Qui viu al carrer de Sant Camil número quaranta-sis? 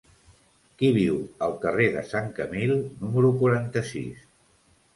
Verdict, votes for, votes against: accepted, 3, 0